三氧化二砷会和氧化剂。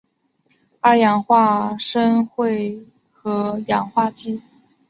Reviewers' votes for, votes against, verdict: 0, 2, rejected